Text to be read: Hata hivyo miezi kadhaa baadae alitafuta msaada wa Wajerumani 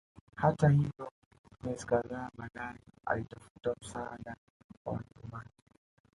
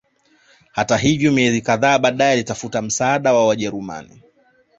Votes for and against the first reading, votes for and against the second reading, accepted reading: 1, 2, 2, 0, second